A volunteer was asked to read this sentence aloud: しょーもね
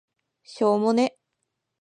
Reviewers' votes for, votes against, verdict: 3, 0, accepted